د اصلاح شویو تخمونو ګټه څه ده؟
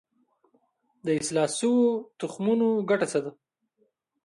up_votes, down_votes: 2, 0